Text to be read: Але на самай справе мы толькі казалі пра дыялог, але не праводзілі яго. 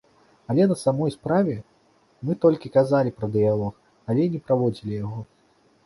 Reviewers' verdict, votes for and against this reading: accepted, 2, 1